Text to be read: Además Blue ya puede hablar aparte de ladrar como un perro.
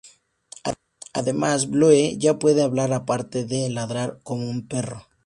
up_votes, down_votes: 0, 2